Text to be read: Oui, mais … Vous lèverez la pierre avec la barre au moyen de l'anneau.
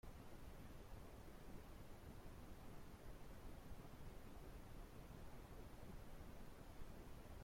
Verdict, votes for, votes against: rejected, 0, 2